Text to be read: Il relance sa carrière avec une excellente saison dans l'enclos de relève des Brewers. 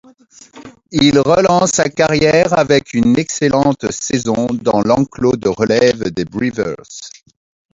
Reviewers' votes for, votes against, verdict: 1, 2, rejected